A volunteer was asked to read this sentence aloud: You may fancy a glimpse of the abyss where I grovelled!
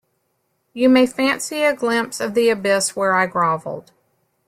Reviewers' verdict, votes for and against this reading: accepted, 2, 1